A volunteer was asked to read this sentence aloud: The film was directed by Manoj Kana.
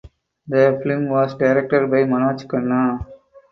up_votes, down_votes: 2, 4